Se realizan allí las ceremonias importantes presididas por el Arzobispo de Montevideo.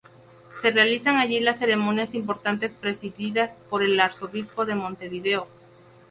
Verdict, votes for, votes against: accepted, 2, 0